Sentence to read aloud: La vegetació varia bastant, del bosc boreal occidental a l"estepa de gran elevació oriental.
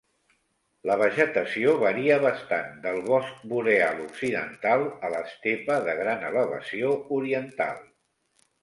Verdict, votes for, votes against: accepted, 2, 0